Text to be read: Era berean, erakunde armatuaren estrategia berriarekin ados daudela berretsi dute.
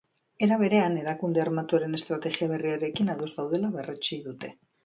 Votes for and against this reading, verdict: 2, 0, accepted